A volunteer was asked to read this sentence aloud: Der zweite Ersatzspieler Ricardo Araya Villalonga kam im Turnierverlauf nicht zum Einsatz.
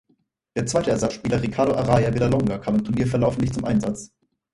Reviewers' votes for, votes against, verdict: 0, 4, rejected